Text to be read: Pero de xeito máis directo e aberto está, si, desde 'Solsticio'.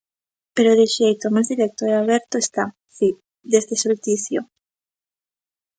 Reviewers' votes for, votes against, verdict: 0, 2, rejected